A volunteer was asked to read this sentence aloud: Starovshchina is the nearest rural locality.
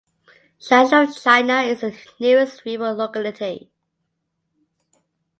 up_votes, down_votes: 0, 2